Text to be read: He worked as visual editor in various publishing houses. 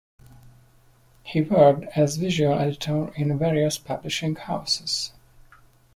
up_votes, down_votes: 2, 1